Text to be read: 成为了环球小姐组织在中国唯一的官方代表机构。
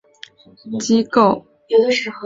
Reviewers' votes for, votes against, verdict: 1, 4, rejected